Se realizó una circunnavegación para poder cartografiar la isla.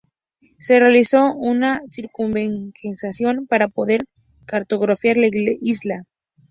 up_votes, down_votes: 0, 2